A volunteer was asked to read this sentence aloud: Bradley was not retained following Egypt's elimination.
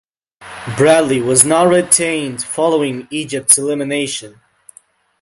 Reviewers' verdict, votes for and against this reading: accepted, 2, 0